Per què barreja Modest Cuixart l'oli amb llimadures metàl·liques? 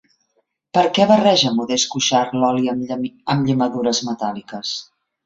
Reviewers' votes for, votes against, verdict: 1, 2, rejected